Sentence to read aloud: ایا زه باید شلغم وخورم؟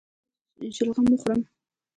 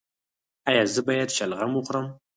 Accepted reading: second